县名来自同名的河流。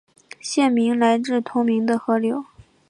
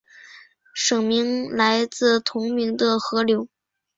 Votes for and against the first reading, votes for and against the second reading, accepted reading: 4, 0, 1, 2, first